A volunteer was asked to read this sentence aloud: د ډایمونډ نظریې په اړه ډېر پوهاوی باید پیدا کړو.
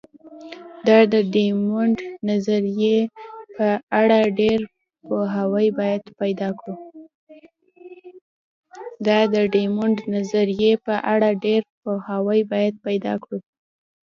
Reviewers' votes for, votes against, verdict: 1, 2, rejected